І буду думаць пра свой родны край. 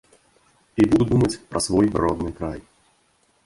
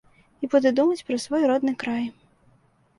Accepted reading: second